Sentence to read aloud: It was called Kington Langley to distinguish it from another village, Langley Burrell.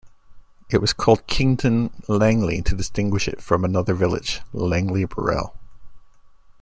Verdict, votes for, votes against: rejected, 0, 2